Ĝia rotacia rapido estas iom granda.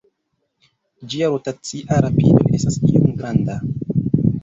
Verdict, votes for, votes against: accepted, 2, 0